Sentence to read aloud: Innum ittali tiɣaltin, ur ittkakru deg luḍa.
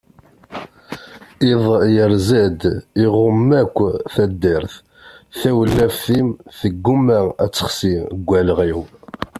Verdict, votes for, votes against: rejected, 0, 2